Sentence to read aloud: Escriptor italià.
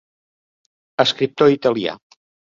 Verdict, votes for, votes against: accepted, 4, 0